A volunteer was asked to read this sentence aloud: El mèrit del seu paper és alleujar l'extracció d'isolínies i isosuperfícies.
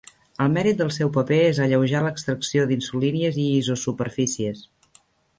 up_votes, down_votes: 0, 2